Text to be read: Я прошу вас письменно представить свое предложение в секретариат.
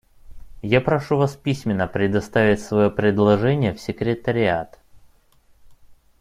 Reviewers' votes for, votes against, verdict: 1, 2, rejected